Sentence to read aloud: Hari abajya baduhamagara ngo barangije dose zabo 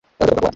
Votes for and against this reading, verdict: 1, 2, rejected